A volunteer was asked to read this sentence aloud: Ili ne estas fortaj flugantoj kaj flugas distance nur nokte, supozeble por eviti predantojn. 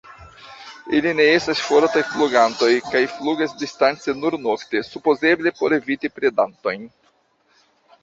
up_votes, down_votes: 2, 1